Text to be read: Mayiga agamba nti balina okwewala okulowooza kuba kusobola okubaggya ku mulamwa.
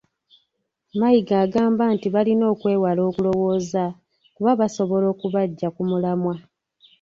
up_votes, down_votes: 0, 2